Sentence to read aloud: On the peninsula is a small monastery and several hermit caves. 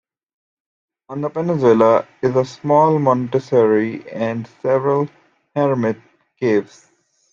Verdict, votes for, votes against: rejected, 0, 2